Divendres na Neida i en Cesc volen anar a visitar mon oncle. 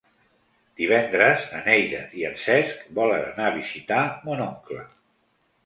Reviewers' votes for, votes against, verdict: 2, 0, accepted